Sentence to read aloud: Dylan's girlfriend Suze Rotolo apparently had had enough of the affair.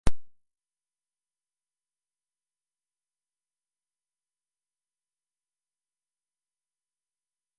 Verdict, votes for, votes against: rejected, 1, 2